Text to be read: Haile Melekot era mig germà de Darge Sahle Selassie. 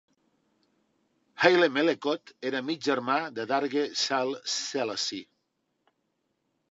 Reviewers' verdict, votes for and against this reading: accepted, 2, 0